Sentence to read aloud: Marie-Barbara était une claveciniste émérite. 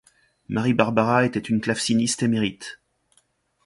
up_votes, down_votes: 3, 0